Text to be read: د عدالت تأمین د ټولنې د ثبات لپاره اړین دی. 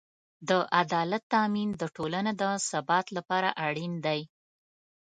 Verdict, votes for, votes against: accepted, 2, 0